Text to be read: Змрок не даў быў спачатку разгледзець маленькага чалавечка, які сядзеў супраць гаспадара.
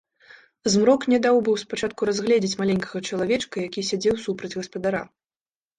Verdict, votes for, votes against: accepted, 2, 0